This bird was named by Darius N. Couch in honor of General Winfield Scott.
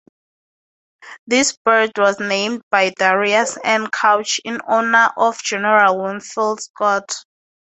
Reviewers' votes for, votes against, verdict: 2, 0, accepted